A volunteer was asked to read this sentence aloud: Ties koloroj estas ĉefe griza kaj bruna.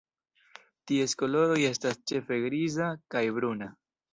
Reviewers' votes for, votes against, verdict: 2, 0, accepted